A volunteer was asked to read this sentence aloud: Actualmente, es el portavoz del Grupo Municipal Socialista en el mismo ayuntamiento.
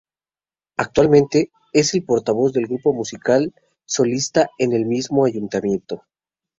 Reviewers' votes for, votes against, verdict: 0, 2, rejected